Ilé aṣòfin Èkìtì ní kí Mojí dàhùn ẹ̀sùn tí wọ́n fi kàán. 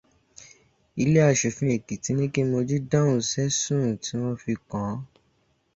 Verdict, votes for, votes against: rejected, 0, 2